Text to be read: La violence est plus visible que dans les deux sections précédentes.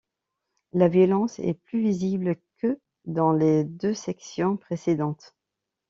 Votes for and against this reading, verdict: 2, 0, accepted